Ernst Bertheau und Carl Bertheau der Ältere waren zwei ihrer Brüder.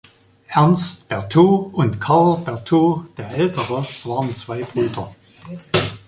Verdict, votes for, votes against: rejected, 0, 2